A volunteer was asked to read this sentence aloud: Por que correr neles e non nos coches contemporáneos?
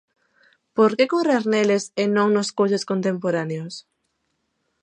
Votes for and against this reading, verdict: 1, 2, rejected